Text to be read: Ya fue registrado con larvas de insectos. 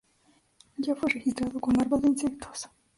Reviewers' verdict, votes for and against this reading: rejected, 0, 2